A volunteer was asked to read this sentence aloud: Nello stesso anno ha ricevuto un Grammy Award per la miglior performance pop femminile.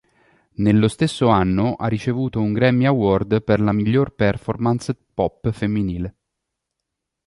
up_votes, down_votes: 2, 0